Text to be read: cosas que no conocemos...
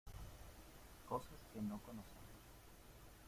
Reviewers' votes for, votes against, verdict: 0, 2, rejected